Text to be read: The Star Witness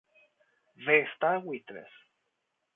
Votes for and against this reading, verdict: 0, 2, rejected